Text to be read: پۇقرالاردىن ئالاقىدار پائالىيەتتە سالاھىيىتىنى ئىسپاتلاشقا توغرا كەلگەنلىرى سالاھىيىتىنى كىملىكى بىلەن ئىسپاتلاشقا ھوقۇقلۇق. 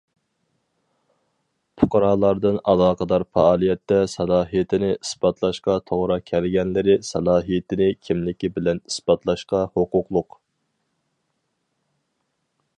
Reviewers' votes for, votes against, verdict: 4, 0, accepted